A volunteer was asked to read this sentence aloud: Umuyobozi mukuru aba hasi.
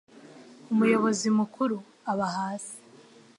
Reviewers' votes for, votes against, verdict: 2, 0, accepted